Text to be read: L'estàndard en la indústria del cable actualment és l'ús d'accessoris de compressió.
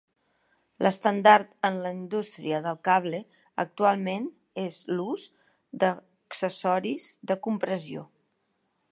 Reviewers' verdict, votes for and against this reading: rejected, 1, 2